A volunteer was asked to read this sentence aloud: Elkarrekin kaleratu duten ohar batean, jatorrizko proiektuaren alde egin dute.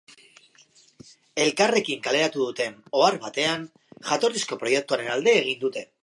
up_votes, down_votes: 2, 0